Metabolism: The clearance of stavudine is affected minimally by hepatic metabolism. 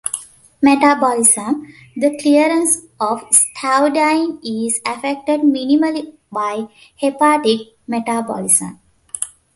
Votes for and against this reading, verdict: 5, 0, accepted